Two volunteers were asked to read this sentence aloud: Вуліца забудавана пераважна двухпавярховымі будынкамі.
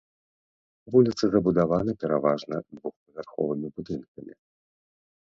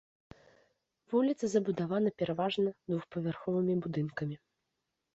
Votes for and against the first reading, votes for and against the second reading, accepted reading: 0, 2, 2, 0, second